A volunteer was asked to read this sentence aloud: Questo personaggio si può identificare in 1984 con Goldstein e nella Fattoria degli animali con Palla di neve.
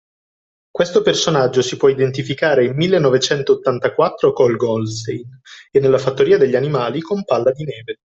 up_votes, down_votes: 0, 2